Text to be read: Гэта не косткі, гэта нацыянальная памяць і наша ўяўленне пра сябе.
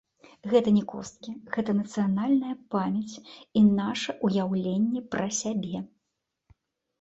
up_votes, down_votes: 0, 2